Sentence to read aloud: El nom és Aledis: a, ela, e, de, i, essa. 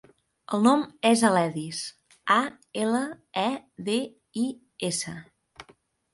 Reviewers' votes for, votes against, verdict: 4, 0, accepted